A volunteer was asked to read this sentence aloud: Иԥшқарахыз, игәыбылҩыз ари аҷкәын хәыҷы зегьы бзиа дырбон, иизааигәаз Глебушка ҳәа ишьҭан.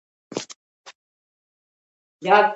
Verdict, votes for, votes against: rejected, 0, 2